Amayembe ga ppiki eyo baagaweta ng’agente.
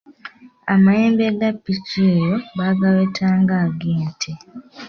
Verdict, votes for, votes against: accepted, 2, 0